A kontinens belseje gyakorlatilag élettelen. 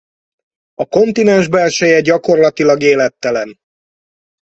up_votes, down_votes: 4, 0